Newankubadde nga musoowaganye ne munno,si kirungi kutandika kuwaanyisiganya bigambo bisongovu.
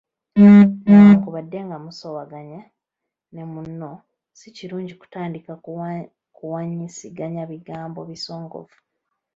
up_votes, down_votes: 2, 1